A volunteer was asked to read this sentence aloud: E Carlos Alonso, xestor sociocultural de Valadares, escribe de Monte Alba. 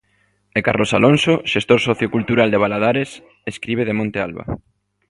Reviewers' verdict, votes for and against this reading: accepted, 2, 0